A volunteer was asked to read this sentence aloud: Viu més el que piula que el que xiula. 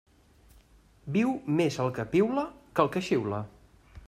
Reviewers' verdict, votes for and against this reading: accepted, 2, 0